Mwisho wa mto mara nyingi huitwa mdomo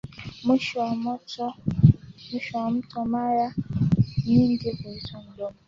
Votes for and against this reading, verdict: 0, 2, rejected